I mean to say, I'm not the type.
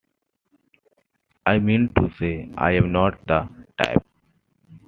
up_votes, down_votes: 2, 1